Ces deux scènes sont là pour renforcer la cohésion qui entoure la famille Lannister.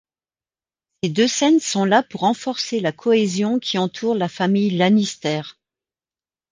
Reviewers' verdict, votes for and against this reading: rejected, 1, 2